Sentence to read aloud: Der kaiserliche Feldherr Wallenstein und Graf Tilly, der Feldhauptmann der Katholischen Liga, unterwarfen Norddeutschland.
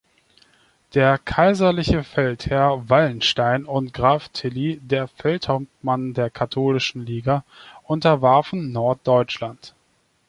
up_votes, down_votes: 2, 0